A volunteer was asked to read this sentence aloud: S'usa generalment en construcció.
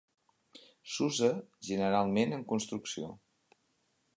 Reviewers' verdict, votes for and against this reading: accepted, 5, 0